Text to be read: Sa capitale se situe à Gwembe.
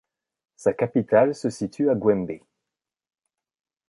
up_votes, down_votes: 2, 0